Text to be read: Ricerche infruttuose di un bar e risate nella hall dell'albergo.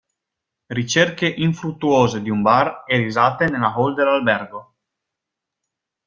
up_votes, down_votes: 2, 0